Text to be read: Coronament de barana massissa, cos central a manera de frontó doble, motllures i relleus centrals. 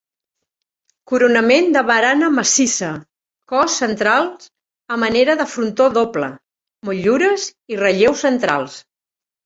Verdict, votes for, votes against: rejected, 1, 2